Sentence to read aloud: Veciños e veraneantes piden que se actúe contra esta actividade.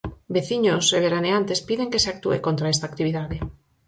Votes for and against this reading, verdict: 4, 0, accepted